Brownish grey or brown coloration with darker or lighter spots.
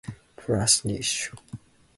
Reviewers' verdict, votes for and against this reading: rejected, 0, 2